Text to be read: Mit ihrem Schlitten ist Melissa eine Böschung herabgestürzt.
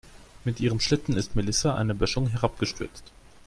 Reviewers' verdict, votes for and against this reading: accepted, 2, 0